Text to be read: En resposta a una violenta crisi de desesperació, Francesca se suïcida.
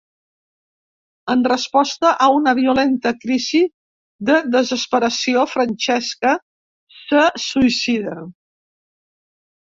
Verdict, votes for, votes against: rejected, 1, 2